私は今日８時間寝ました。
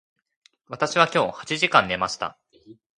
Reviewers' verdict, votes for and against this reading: rejected, 0, 2